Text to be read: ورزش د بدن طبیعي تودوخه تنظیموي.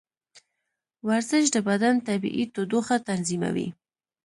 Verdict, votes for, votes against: accepted, 2, 1